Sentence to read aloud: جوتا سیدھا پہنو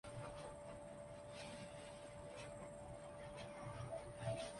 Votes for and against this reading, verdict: 0, 3, rejected